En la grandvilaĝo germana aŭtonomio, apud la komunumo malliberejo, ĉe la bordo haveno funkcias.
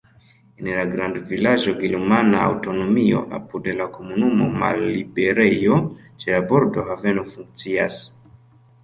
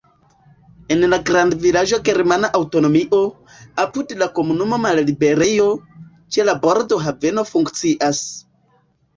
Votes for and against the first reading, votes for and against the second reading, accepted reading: 2, 0, 1, 2, first